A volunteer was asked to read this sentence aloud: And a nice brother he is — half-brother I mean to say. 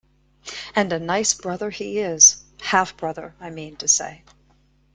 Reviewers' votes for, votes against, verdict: 2, 0, accepted